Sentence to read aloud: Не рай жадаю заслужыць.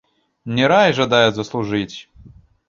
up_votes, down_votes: 2, 0